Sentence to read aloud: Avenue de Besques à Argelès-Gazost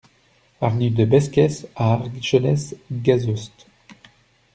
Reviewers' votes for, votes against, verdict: 0, 2, rejected